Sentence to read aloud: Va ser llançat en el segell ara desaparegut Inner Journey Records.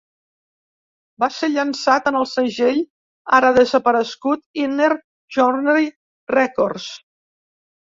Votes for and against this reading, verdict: 0, 2, rejected